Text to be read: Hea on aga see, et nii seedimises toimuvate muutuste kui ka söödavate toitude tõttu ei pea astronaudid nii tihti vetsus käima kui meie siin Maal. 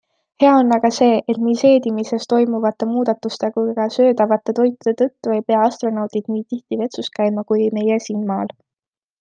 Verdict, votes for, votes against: rejected, 0, 2